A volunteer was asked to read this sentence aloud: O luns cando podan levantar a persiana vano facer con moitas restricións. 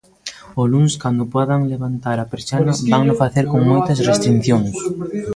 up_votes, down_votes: 0, 2